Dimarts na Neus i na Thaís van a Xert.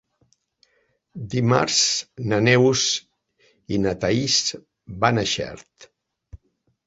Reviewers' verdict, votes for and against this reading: accepted, 4, 0